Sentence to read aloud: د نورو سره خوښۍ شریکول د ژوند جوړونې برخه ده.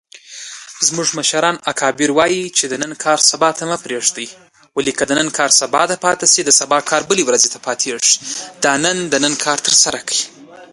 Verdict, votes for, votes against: rejected, 0, 2